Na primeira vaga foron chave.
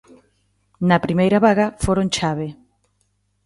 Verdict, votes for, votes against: accepted, 2, 0